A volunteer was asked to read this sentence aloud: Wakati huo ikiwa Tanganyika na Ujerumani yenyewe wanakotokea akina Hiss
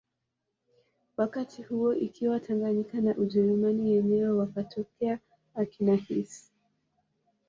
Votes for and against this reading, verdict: 0, 2, rejected